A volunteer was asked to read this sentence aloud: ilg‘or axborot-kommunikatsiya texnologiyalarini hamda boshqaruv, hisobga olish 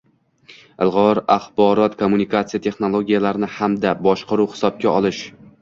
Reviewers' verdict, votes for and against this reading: accepted, 2, 1